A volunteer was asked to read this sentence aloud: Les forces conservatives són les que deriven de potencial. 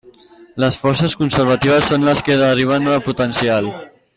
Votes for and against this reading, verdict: 0, 2, rejected